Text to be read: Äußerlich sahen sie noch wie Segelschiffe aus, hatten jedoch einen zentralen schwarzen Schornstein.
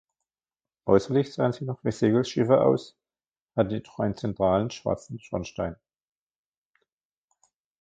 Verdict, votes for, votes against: rejected, 1, 2